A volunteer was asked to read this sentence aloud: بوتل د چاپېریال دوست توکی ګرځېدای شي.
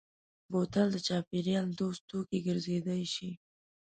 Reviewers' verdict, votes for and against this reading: accepted, 2, 0